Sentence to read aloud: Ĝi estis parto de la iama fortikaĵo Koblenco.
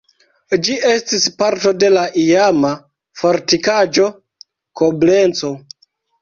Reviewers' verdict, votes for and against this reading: rejected, 1, 2